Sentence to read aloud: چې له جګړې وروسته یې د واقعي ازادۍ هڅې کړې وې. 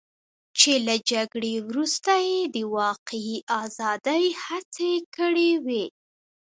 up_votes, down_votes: 1, 2